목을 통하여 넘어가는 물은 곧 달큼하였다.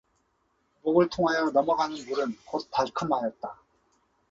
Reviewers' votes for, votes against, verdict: 2, 0, accepted